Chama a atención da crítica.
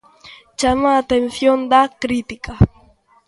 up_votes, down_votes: 2, 0